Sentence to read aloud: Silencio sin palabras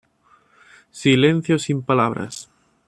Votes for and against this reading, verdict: 2, 0, accepted